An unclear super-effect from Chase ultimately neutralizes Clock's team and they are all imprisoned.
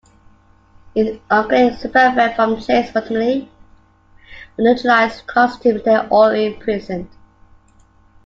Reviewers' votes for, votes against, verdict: 0, 2, rejected